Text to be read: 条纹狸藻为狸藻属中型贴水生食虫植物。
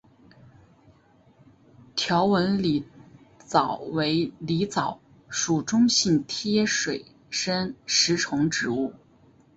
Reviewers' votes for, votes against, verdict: 3, 0, accepted